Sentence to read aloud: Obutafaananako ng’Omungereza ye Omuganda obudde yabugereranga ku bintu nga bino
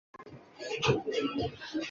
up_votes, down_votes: 0, 3